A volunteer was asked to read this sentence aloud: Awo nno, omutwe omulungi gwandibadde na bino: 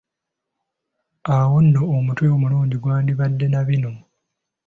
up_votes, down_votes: 3, 0